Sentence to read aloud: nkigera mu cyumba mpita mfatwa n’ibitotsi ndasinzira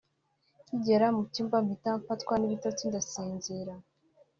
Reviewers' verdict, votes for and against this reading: accepted, 2, 0